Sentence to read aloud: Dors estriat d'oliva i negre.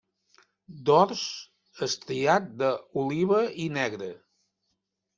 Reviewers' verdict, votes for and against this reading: rejected, 0, 2